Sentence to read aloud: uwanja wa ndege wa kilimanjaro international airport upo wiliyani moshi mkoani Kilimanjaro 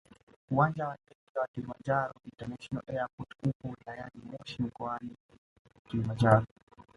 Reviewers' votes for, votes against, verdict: 1, 2, rejected